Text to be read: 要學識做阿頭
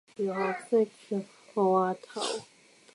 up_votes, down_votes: 0, 2